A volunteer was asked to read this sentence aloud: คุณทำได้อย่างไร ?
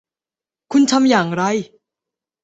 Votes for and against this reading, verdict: 0, 2, rejected